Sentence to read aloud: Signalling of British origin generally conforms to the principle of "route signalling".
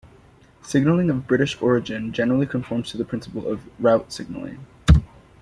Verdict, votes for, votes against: accepted, 2, 0